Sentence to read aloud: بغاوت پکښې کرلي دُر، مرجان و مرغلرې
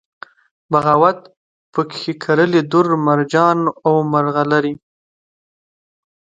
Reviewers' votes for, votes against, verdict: 2, 0, accepted